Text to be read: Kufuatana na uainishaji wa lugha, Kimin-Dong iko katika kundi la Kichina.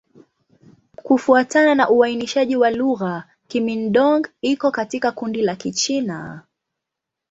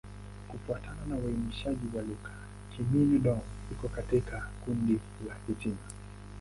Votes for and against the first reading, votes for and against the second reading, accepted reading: 2, 0, 3, 5, first